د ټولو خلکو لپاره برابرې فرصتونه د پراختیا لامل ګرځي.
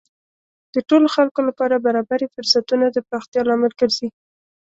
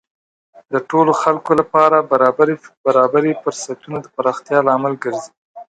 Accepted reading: first